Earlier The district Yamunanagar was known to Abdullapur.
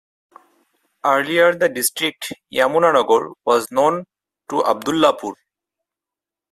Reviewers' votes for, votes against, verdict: 4, 2, accepted